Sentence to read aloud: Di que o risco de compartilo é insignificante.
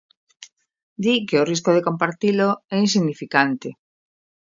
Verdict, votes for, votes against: accepted, 2, 0